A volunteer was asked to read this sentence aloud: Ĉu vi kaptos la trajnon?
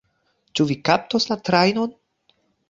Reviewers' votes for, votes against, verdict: 2, 0, accepted